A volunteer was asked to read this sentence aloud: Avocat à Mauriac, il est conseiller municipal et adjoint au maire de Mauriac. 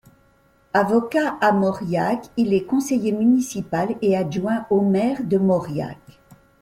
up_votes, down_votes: 2, 0